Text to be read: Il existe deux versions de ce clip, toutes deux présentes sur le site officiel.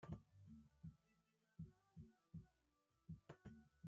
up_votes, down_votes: 0, 2